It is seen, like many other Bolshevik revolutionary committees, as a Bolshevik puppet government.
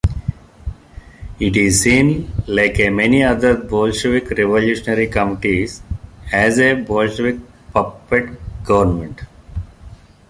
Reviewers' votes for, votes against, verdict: 1, 3, rejected